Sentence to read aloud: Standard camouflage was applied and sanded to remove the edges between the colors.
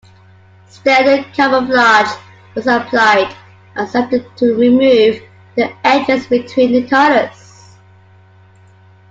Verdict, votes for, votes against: accepted, 2, 0